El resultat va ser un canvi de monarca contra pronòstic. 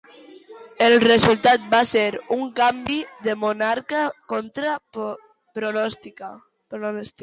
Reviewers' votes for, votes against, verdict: 0, 2, rejected